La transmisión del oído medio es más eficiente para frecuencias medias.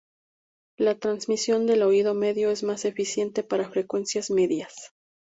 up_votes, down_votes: 2, 0